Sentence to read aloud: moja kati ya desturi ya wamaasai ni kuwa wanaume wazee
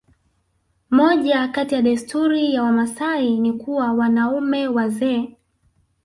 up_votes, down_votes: 1, 2